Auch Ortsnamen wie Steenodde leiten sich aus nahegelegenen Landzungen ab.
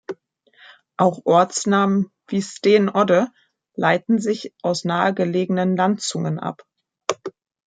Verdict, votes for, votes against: rejected, 0, 2